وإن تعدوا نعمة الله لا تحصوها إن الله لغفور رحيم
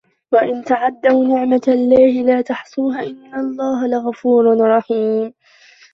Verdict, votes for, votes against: rejected, 1, 2